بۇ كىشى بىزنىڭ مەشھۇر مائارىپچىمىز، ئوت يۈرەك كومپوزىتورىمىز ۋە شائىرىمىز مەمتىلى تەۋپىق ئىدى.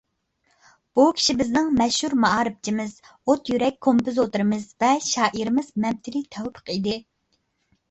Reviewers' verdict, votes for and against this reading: accepted, 2, 0